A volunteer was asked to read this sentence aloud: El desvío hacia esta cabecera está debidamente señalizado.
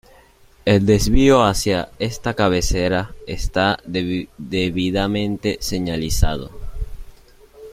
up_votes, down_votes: 1, 2